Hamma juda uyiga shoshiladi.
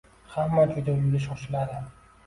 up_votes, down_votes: 0, 2